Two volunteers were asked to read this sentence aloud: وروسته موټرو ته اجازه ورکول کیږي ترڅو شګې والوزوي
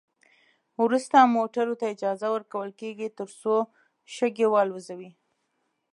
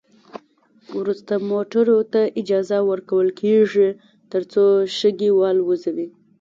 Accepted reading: first